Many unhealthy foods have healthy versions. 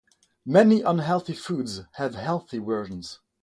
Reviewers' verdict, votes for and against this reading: accepted, 3, 0